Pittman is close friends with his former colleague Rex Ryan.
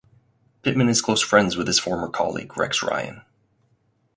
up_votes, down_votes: 4, 0